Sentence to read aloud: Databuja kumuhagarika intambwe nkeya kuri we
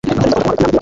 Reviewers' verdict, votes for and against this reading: accepted, 2, 1